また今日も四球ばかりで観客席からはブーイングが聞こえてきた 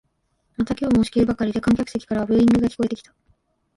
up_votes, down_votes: 1, 2